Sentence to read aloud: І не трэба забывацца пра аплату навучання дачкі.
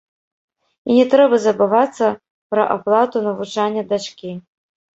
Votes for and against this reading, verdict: 1, 3, rejected